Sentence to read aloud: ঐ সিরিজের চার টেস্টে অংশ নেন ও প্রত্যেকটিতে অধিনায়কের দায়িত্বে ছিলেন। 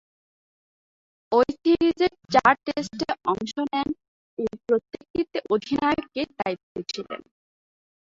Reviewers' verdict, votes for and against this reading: rejected, 0, 2